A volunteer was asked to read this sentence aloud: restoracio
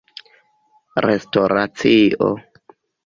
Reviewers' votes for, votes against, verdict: 2, 1, accepted